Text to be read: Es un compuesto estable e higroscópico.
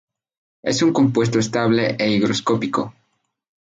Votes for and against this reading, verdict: 2, 0, accepted